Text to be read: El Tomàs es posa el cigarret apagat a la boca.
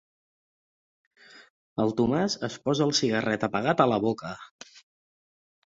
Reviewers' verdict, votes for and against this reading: accepted, 5, 0